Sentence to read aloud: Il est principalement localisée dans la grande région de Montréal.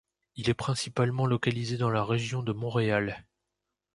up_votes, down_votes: 0, 2